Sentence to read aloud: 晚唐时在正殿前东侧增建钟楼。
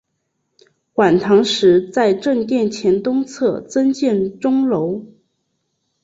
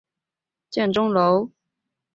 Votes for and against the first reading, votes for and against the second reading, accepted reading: 2, 0, 1, 5, first